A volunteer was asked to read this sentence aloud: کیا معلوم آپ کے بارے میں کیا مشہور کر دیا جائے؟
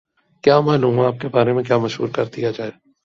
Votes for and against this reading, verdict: 7, 0, accepted